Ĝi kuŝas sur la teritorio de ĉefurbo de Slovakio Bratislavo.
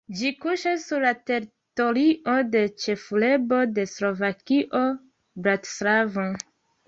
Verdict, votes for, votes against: rejected, 1, 2